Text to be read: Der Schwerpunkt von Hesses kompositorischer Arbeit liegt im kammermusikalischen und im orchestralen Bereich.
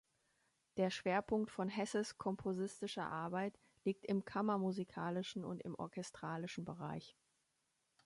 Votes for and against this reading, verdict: 0, 3, rejected